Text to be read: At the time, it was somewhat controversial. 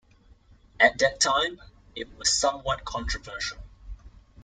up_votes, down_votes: 2, 0